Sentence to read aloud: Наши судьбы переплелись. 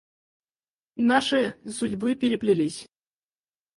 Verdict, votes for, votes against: rejected, 2, 4